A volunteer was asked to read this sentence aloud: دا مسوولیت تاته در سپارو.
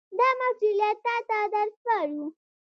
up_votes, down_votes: 1, 2